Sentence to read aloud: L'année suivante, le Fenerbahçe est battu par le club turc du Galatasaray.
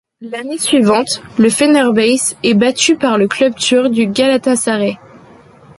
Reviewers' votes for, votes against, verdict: 1, 2, rejected